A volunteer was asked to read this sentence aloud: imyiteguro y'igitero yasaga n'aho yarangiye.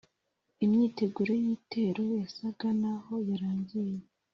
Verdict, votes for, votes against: accepted, 2, 0